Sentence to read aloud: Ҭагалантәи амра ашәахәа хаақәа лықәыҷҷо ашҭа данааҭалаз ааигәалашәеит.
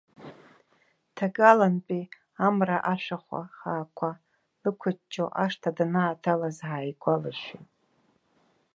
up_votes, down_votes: 2, 1